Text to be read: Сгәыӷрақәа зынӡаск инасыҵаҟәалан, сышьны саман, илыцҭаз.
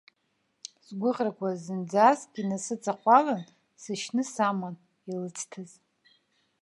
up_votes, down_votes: 2, 0